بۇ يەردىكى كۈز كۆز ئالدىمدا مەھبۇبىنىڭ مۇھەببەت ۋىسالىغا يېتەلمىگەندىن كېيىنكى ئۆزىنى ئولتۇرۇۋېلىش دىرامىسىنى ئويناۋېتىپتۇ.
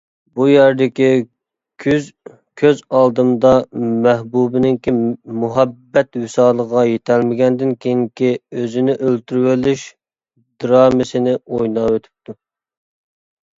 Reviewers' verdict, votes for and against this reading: rejected, 0, 2